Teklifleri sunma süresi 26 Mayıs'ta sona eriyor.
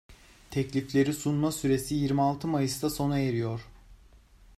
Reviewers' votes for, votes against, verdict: 0, 2, rejected